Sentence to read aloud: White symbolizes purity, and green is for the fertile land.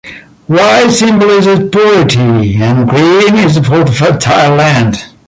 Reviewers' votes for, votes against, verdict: 1, 2, rejected